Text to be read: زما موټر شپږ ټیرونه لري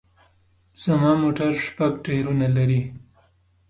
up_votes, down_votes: 3, 0